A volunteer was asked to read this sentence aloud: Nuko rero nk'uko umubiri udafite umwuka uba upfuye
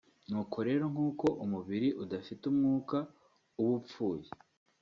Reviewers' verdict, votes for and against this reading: accepted, 2, 0